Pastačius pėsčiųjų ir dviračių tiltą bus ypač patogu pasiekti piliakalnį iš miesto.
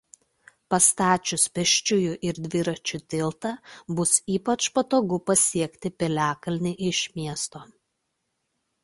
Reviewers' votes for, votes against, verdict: 2, 0, accepted